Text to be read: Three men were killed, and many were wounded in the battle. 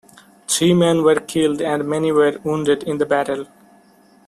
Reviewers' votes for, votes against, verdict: 2, 0, accepted